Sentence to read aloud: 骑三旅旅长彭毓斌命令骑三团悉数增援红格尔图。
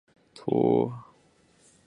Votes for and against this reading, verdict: 0, 5, rejected